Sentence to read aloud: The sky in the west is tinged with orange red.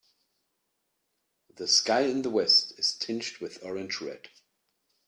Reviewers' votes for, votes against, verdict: 2, 0, accepted